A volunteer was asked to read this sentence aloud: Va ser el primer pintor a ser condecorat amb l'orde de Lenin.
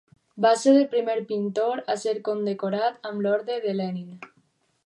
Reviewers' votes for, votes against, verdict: 4, 0, accepted